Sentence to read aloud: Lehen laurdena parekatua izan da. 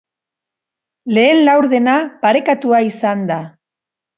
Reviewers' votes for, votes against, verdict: 2, 0, accepted